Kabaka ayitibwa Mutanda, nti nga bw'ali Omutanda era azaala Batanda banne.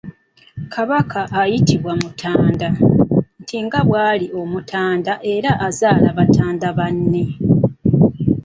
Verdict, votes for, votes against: rejected, 1, 2